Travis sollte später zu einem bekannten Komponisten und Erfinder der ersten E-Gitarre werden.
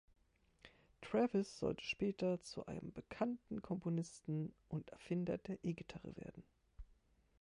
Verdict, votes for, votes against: rejected, 0, 2